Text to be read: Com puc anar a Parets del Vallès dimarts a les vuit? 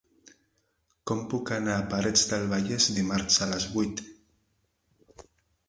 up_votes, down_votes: 0, 2